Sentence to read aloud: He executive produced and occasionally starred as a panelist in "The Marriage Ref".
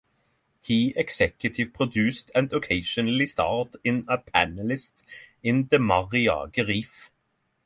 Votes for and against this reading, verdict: 3, 6, rejected